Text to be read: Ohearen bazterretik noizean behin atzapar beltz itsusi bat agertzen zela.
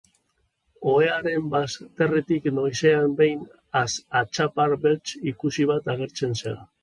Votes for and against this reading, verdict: 3, 4, rejected